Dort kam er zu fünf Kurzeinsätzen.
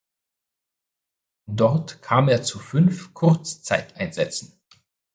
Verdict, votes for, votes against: rejected, 0, 2